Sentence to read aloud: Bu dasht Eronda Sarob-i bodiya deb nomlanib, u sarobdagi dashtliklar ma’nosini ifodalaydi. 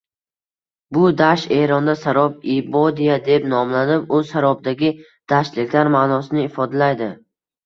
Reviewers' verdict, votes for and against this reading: rejected, 1, 2